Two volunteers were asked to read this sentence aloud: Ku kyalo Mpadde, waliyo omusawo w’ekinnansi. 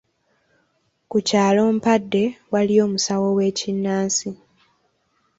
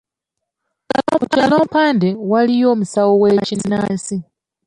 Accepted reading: first